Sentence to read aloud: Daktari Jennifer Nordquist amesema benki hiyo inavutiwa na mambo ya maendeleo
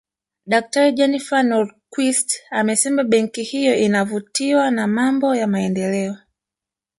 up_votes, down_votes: 1, 2